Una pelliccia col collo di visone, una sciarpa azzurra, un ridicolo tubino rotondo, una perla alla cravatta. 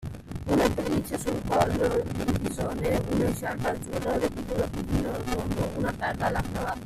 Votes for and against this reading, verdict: 0, 2, rejected